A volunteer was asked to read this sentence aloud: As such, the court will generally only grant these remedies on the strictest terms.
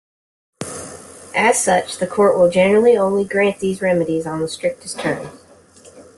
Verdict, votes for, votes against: accepted, 2, 0